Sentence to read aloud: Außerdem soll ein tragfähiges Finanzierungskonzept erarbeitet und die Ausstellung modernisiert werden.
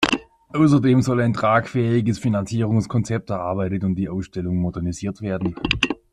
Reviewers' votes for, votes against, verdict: 2, 0, accepted